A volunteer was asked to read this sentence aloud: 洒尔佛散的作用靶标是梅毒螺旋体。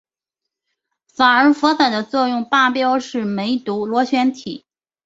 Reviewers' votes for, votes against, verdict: 2, 0, accepted